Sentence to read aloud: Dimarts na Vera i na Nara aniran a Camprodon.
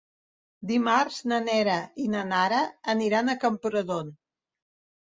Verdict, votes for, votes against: rejected, 0, 2